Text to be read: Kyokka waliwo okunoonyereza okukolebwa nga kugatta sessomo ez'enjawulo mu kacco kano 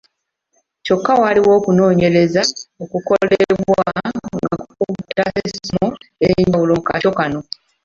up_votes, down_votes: 1, 2